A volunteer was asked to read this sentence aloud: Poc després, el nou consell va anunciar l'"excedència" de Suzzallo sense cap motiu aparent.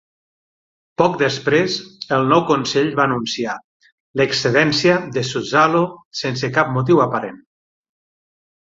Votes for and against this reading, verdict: 3, 6, rejected